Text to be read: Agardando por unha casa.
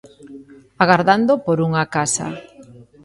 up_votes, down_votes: 1, 2